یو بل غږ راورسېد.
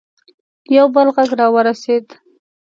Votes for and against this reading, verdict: 2, 0, accepted